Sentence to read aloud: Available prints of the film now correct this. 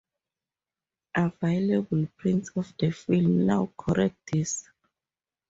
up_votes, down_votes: 2, 2